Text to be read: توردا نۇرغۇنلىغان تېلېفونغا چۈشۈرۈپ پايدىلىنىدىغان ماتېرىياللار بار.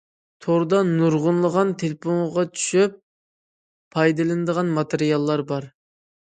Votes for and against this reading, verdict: 0, 2, rejected